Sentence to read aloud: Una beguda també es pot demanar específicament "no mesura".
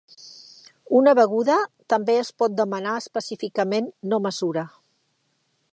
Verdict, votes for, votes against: accepted, 3, 1